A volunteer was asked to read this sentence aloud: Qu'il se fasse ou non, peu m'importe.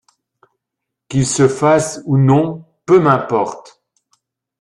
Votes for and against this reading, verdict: 2, 0, accepted